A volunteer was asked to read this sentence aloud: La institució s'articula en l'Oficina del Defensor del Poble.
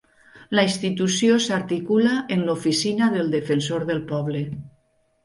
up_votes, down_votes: 2, 0